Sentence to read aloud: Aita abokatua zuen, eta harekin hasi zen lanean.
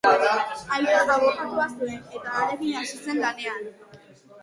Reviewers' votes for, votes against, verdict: 2, 1, accepted